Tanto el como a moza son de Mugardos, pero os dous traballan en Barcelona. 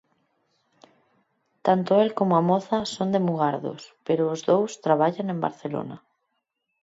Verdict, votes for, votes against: accepted, 4, 0